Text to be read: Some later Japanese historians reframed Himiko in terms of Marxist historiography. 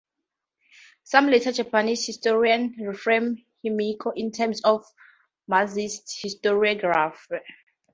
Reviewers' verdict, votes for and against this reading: rejected, 0, 4